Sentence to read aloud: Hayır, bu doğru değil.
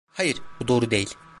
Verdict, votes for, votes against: accepted, 2, 0